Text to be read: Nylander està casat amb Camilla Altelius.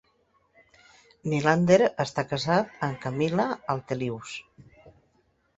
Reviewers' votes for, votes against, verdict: 2, 0, accepted